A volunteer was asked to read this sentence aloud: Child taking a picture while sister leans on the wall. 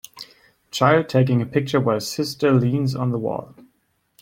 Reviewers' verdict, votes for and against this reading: accepted, 2, 0